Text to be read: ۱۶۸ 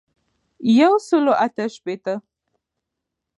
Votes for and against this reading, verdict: 0, 2, rejected